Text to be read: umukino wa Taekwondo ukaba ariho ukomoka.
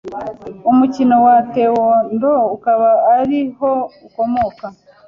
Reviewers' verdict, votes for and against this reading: accepted, 2, 0